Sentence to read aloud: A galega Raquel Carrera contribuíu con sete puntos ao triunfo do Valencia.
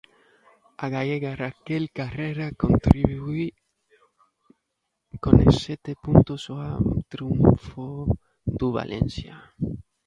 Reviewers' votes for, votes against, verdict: 0, 2, rejected